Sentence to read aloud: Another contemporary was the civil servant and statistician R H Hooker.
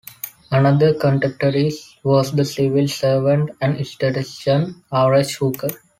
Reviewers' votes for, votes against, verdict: 0, 2, rejected